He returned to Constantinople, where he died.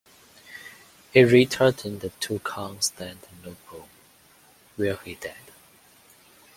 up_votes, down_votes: 1, 2